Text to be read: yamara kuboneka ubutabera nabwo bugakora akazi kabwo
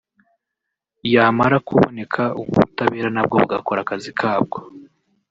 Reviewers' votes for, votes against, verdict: 2, 0, accepted